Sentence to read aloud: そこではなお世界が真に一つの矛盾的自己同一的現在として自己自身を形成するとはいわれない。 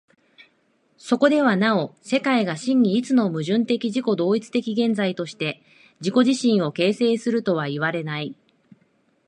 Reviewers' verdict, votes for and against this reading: accepted, 2, 0